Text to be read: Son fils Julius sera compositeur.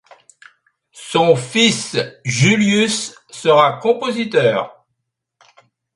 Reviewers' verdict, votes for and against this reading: accepted, 2, 0